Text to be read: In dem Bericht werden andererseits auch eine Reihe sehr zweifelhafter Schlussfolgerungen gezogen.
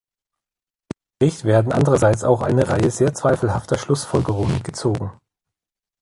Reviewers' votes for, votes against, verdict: 0, 2, rejected